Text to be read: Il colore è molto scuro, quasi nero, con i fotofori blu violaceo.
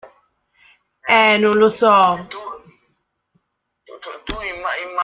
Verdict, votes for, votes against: rejected, 0, 2